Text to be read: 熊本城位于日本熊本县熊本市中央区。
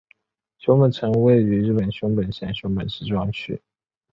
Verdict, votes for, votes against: accepted, 2, 0